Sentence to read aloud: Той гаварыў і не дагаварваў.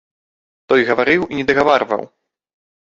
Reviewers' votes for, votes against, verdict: 2, 0, accepted